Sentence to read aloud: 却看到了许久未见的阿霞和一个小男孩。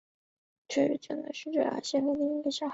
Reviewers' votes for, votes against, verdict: 0, 3, rejected